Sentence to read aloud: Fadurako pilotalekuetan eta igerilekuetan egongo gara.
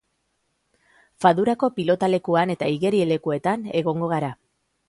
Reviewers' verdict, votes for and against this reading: rejected, 0, 3